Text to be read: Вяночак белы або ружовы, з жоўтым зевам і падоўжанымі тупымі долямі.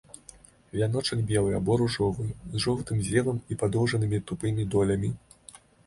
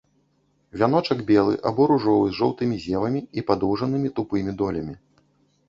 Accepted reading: first